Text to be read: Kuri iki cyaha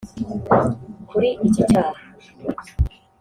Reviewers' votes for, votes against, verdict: 0, 2, rejected